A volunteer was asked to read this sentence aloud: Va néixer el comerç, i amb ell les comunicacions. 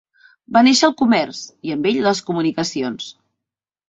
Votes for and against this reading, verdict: 3, 0, accepted